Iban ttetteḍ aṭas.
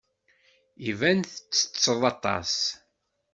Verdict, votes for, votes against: accepted, 2, 0